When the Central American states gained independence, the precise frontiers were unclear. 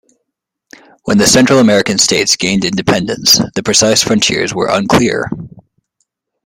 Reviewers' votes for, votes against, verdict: 2, 0, accepted